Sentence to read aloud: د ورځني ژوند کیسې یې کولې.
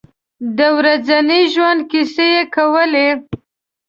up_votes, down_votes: 1, 2